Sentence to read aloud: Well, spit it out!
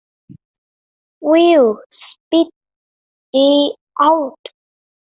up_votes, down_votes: 0, 2